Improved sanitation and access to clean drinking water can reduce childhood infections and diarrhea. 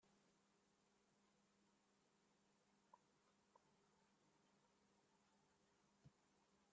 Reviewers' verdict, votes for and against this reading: rejected, 0, 2